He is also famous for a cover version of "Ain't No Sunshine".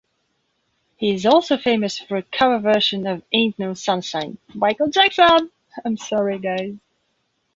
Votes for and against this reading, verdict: 0, 2, rejected